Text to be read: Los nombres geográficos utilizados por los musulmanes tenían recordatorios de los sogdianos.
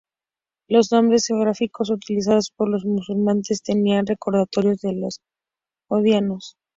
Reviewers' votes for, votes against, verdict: 2, 0, accepted